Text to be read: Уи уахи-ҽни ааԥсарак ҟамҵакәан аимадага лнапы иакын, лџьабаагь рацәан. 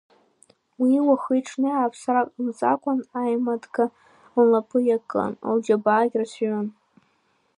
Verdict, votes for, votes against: rejected, 0, 2